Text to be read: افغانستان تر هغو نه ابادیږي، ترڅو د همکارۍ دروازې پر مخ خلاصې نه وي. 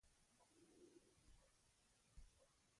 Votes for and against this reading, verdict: 0, 2, rejected